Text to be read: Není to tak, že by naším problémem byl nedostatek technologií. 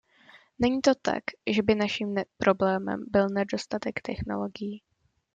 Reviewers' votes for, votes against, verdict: 0, 2, rejected